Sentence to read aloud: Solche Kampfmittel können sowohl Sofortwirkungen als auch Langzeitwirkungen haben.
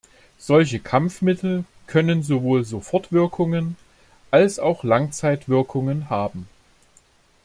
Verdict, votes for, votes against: accepted, 2, 0